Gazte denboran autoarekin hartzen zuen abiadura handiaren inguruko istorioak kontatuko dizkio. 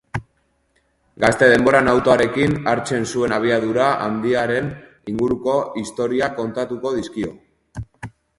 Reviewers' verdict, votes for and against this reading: accepted, 2, 0